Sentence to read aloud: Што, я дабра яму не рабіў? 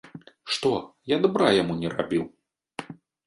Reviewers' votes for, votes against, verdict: 2, 0, accepted